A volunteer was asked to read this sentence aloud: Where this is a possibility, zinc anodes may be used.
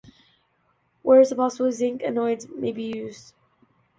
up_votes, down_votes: 0, 2